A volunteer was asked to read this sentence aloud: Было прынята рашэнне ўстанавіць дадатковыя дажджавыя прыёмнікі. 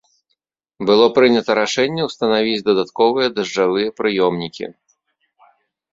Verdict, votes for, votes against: accepted, 2, 0